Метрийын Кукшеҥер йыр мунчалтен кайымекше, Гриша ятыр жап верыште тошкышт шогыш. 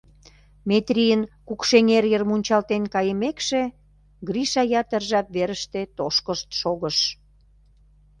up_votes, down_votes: 2, 0